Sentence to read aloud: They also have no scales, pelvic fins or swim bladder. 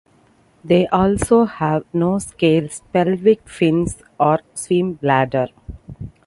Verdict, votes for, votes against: accepted, 2, 0